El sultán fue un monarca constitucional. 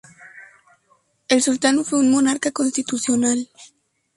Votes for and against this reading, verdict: 2, 2, rejected